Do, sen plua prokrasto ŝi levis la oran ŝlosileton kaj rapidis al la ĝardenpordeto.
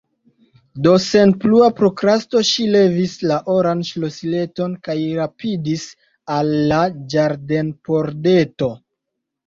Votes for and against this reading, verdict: 2, 0, accepted